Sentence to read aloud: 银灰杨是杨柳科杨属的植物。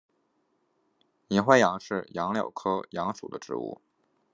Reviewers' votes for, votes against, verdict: 2, 0, accepted